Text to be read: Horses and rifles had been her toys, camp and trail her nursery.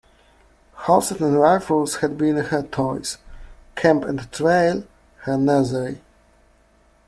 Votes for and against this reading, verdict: 0, 2, rejected